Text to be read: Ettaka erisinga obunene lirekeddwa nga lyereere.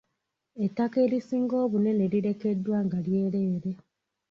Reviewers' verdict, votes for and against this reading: accepted, 2, 1